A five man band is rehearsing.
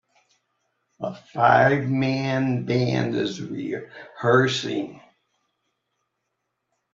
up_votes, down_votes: 2, 0